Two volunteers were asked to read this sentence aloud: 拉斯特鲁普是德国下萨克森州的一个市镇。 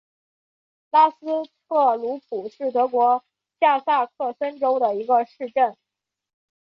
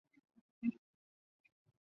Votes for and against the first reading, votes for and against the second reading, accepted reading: 2, 0, 0, 4, first